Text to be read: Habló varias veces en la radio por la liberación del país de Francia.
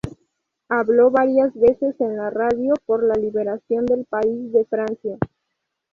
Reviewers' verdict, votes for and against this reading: accepted, 2, 0